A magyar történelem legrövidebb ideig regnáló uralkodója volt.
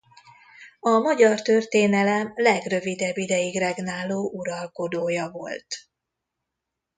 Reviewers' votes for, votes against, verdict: 2, 0, accepted